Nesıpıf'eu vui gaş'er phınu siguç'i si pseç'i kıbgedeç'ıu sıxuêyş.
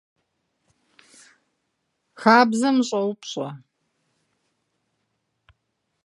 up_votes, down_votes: 0, 2